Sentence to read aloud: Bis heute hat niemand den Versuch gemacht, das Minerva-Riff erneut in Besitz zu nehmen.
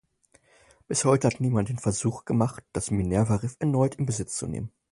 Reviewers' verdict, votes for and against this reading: rejected, 2, 2